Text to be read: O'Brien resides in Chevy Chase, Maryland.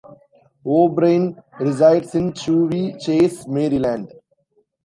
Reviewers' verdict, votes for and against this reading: rejected, 1, 2